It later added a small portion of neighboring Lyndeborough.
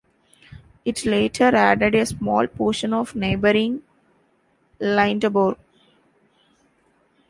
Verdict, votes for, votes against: rejected, 0, 2